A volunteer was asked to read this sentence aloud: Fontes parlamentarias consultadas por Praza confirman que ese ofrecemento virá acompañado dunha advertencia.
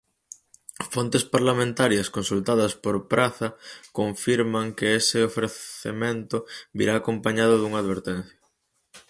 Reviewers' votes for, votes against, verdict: 2, 2, rejected